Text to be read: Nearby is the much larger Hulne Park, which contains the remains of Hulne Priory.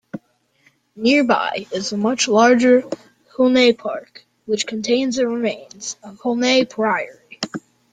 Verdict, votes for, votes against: accepted, 2, 1